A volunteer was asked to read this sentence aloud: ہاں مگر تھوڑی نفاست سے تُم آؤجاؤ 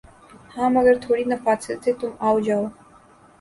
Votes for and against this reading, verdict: 2, 0, accepted